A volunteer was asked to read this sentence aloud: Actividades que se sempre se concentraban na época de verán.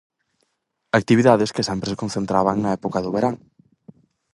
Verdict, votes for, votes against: rejected, 0, 4